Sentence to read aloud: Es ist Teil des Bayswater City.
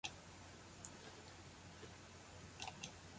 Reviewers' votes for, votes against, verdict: 0, 2, rejected